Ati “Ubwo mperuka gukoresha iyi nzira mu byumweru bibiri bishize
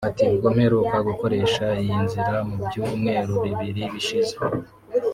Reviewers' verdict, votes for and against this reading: accepted, 3, 0